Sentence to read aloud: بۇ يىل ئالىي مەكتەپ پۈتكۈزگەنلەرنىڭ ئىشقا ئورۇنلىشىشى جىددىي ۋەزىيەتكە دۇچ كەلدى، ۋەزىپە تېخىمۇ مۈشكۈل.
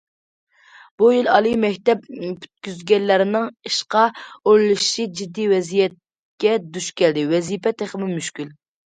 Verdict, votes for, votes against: accepted, 2, 0